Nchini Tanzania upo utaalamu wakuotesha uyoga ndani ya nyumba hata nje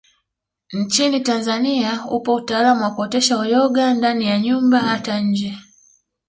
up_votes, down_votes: 2, 0